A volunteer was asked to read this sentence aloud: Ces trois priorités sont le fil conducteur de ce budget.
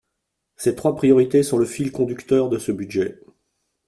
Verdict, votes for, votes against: accepted, 2, 0